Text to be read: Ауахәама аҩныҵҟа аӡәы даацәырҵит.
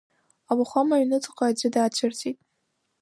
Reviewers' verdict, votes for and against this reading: accepted, 2, 0